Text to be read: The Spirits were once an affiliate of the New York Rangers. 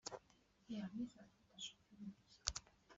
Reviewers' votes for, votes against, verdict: 0, 2, rejected